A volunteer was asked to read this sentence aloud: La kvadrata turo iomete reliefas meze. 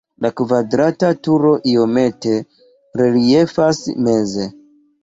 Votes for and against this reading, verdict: 2, 1, accepted